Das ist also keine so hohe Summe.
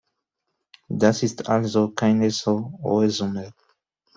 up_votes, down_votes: 2, 0